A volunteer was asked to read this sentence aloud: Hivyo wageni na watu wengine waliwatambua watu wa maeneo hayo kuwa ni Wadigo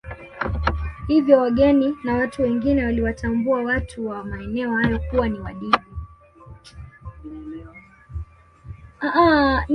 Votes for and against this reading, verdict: 2, 1, accepted